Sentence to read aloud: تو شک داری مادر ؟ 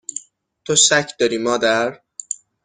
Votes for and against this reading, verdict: 6, 0, accepted